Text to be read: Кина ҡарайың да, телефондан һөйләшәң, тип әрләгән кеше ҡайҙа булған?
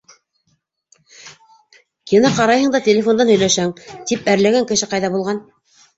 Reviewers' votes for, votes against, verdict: 0, 2, rejected